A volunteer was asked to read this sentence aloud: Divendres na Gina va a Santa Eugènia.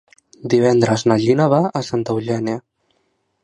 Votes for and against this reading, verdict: 2, 0, accepted